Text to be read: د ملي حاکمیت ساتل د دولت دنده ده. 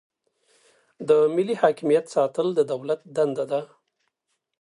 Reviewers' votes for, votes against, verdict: 2, 0, accepted